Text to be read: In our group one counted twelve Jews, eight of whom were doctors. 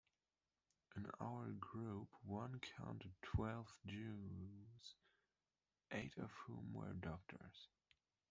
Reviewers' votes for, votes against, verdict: 1, 2, rejected